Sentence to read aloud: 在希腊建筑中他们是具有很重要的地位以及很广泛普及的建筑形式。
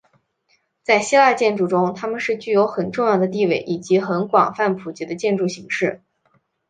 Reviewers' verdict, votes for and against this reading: accepted, 8, 0